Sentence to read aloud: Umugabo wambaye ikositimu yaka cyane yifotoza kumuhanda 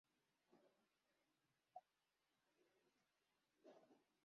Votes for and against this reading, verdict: 0, 2, rejected